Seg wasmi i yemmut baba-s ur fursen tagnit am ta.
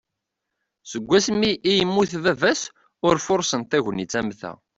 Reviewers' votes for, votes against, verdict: 2, 0, accepted